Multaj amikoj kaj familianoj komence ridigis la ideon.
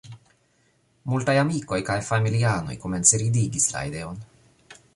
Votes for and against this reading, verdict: 2, 1, accepted